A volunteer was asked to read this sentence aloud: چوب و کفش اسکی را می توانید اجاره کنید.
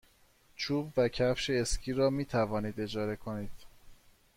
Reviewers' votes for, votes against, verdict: 2, 0, accepted